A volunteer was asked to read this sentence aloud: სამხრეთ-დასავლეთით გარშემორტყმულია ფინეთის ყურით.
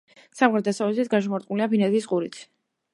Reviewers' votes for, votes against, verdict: 1, 2, rejected